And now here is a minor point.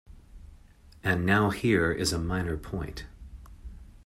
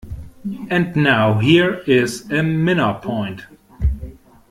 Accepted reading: first